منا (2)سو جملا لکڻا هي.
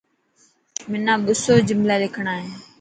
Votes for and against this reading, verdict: 0, 2, rejected